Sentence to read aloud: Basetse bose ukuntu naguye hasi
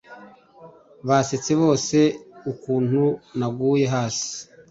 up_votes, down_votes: 2, 0